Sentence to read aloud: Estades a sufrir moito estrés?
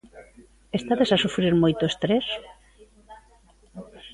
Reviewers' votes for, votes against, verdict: 2, 0, accepted